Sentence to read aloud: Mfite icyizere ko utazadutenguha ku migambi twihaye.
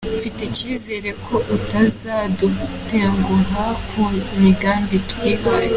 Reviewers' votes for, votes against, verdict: 2, 0, accepted